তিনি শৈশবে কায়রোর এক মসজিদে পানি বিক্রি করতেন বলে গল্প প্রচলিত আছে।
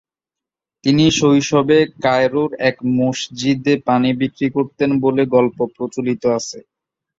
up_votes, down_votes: 3, 2